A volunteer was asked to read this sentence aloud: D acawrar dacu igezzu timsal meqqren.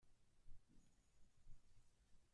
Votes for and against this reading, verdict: 1, 2, rejected